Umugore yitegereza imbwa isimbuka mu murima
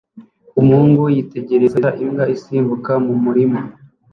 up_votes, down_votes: 0, 2